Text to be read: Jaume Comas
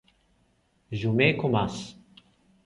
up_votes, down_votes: 2, 0